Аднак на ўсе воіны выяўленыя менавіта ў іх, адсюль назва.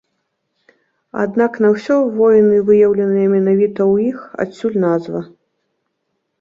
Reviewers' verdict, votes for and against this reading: rejected, 0, 2